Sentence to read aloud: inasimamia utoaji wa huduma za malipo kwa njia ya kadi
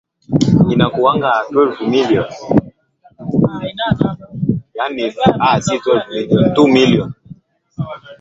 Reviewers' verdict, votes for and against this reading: rejected, 0, 2